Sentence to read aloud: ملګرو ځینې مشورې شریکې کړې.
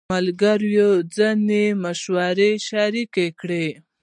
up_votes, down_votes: 1, 2